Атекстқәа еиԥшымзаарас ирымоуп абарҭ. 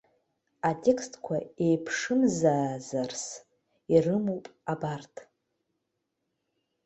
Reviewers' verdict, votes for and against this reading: accepted, 2, 1